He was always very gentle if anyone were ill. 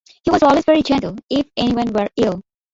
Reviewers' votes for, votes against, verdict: 2, 1, accepted